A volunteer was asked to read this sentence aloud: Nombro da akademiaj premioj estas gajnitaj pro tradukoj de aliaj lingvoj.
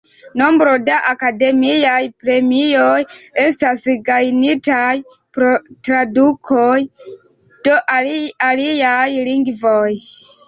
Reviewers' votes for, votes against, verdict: 1, 3, rejected